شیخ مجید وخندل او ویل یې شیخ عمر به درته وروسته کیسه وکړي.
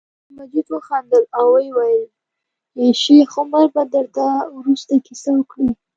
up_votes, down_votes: 0, 2